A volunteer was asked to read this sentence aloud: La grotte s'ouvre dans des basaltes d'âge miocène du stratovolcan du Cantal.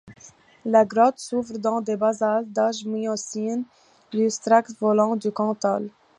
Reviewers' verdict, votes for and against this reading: accepted, 2, 0